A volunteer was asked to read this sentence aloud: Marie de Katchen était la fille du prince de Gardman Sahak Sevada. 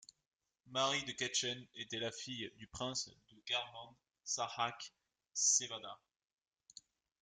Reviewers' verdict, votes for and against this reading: rejected, 1, 2